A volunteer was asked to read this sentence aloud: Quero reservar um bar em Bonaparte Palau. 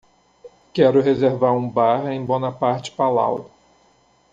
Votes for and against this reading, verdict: 2, 0, accepted